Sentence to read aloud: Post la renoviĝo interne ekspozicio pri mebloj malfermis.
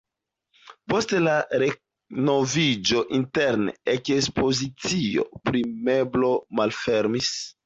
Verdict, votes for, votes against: rejected, 0, 2